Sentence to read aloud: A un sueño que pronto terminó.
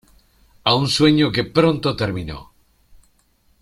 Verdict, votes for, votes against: accepted, 2, 0